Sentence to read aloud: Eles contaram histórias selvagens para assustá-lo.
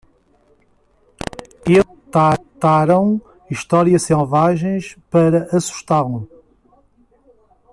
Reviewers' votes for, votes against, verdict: 0, 2, rejected